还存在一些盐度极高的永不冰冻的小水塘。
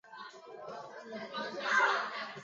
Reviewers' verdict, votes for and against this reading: rejected, 0, 2